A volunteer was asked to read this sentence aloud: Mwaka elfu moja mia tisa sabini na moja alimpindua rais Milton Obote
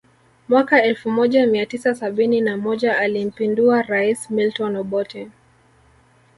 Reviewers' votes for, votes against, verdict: 1, 2, rejected